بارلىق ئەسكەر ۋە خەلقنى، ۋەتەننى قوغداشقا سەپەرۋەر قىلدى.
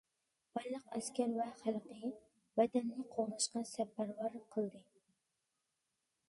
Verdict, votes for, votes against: rejected, 0, 2